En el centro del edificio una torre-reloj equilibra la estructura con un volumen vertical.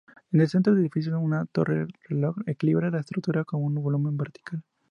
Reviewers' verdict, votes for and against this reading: accepted, 2, 0